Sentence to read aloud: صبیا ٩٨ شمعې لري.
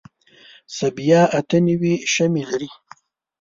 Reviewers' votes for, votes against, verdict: 0, 2, rejected